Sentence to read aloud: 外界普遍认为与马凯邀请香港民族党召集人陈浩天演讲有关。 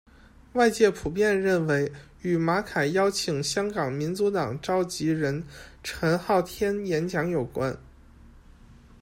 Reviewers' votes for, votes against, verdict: 2, 0, accepted